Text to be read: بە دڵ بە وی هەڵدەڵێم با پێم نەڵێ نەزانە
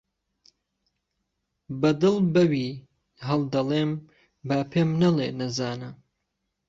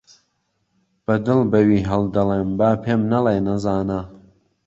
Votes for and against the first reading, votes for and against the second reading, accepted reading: 1, 2, 2, 0, second